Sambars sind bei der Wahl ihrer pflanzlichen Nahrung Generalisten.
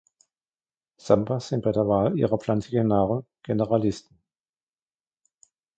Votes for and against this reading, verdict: 1, 2, rejected